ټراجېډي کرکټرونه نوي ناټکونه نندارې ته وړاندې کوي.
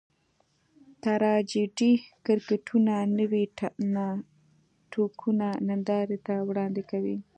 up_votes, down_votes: 2, 0